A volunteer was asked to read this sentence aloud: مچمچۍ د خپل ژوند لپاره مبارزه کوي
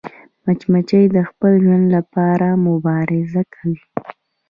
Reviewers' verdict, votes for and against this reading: rejected, 0, 2